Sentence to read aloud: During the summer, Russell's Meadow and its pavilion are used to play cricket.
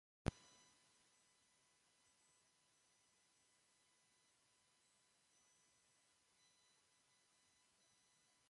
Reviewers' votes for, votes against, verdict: 0, 2, rejected